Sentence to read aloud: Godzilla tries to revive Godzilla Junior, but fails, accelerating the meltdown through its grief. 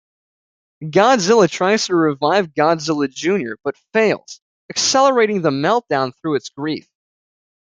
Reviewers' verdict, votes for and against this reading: accepted, 2, 0